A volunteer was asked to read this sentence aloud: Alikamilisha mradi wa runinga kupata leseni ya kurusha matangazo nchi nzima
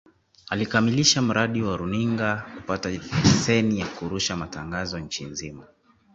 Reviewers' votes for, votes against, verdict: 2, 1, accepted